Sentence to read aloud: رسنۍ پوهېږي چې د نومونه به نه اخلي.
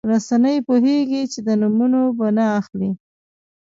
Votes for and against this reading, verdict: 2, 1, accepted